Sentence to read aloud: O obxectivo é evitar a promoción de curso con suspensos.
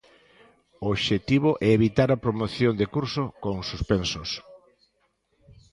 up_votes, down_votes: 2, 0